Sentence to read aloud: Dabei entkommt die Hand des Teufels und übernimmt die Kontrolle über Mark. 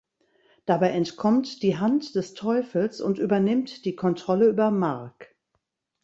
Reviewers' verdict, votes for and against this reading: accepted, 2, 0